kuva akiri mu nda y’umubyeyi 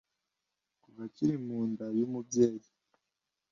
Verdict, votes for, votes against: accepted, 2, 0